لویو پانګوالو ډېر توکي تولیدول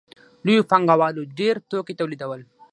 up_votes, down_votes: 0, 6